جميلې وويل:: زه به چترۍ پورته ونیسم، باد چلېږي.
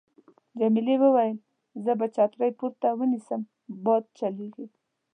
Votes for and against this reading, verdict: 3, 0, accepted